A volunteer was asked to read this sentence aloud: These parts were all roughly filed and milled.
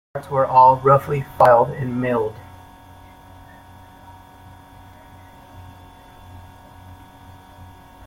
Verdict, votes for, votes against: rejected, 1, 2